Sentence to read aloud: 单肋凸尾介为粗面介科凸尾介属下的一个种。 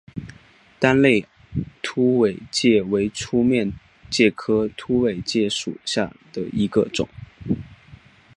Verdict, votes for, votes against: accepted, 3, 0